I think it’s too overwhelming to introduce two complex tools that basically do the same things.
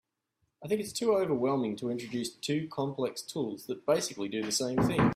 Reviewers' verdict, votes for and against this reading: rejected, 0, 2